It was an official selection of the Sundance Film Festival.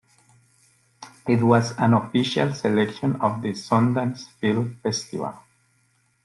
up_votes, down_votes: 2, 0